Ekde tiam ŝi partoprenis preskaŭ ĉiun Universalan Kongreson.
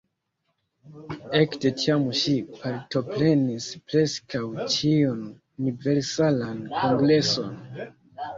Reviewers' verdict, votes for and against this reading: rejected, 1, 2